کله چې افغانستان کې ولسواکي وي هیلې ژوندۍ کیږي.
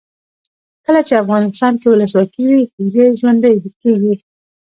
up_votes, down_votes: 1, 2